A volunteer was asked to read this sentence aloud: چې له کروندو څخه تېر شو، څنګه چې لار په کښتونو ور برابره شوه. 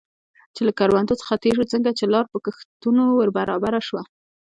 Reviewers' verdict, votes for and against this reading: accepted, 2, 1